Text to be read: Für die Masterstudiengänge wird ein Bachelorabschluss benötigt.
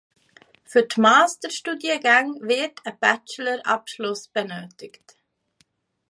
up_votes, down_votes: 1, 2